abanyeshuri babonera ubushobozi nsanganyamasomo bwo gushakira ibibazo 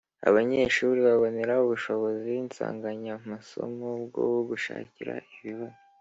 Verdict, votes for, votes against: accepted, 2, 0